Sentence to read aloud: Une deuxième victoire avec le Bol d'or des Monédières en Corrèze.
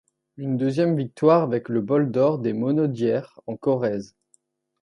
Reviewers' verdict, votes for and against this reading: rejected, 1, 2